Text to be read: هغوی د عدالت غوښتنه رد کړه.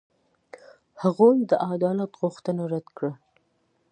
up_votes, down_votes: 2, 0